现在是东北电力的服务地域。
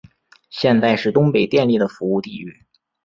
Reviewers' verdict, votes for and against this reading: accepted, 2, 1